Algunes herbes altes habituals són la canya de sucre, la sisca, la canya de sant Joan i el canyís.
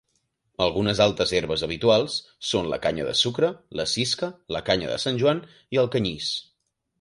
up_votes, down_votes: 2, 3